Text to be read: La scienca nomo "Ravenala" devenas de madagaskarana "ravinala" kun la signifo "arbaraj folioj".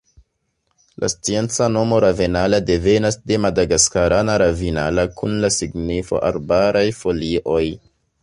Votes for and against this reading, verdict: 2, 0, accepted